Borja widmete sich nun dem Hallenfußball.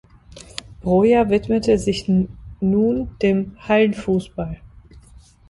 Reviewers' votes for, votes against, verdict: 0, 3, rejected